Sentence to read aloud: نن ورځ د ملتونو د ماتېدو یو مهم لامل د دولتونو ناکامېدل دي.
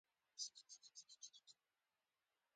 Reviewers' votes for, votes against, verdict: 0, 2, rejected